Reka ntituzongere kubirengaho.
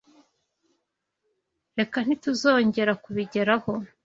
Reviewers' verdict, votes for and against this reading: rejected, 1, 2